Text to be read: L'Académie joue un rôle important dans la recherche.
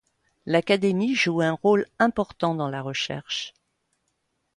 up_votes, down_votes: 2, 0